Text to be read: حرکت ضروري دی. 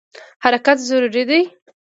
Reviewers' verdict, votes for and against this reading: accepted, 2, 0